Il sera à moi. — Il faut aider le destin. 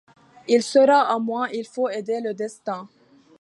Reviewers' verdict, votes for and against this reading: accepted, 2, 0